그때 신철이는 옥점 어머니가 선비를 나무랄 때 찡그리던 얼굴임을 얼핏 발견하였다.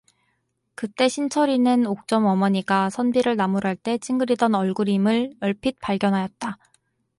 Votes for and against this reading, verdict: 4, 0, accepted